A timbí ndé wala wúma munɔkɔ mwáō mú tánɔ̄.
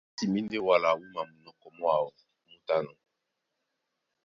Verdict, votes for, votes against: accepted, 2, 0